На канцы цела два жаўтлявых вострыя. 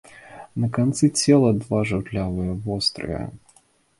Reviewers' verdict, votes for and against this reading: rejected, 0, 2